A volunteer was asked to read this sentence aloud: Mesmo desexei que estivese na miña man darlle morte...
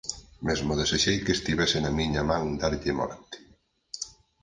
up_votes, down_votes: 4, 0